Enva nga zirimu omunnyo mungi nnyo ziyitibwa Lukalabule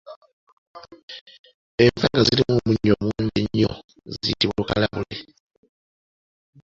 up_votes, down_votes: 1, 2